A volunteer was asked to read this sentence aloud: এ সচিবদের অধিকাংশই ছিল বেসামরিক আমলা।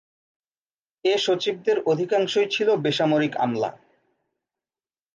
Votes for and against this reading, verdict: 2, 0, accepted